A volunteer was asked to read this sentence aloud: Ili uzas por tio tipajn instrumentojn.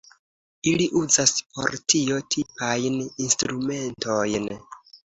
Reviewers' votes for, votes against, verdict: 2, 0, accepted